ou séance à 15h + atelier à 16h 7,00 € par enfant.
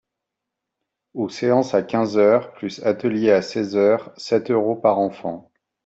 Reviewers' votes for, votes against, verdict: 0, 2, rejected